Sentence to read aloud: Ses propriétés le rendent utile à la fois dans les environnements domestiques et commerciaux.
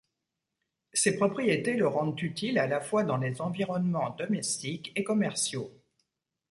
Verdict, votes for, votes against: accepted, 2, 0